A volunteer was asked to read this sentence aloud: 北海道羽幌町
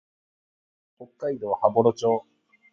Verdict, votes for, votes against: accepted, 2, 0